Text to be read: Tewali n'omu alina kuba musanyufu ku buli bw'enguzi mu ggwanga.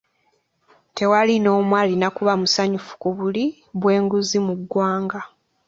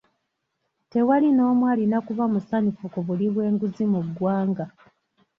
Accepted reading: first